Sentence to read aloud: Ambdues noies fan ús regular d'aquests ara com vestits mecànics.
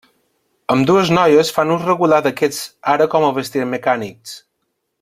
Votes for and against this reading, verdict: 1, 2, rejected